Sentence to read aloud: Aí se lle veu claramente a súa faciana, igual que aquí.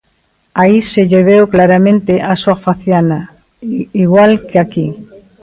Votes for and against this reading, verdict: 0, 2, rejected